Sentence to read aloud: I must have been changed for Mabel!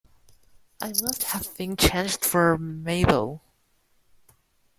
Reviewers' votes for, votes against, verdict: 1, 2, rejected